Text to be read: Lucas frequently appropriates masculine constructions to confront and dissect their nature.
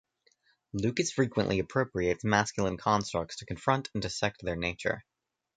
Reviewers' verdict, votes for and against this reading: rejected, 1, 2